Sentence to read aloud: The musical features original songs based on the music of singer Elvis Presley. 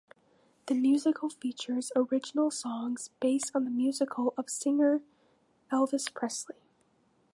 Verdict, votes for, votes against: rejected, 1, 2